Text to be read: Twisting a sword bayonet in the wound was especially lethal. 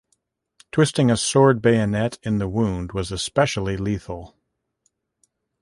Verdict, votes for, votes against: accepted, 2, 0